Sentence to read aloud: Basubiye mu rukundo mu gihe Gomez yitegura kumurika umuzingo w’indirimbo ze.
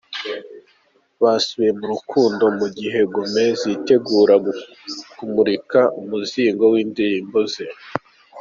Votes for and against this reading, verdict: 2, 0, accepted